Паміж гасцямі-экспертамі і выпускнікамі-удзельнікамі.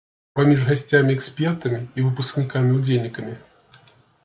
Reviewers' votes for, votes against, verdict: 2, 0, accepted